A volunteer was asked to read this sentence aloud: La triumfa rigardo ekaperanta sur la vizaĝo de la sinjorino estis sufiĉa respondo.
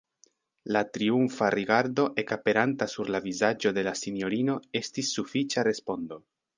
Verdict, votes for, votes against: accepted, 2, 0